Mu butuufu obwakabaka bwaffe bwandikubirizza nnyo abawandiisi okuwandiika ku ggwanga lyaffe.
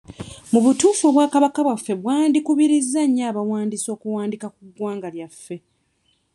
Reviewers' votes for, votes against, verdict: 1, 2, rejected